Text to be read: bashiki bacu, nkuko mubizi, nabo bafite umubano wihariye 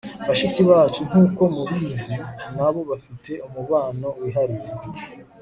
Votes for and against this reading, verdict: 1, 2, rejected